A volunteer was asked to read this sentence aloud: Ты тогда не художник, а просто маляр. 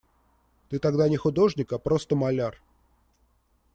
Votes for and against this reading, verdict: 2, 0, accepted